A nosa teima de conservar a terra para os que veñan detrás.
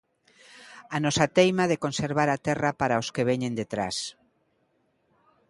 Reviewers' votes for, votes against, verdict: 2, 0, accepted